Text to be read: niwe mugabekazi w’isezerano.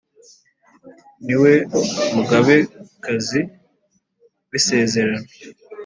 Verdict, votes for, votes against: accepted, 2, 0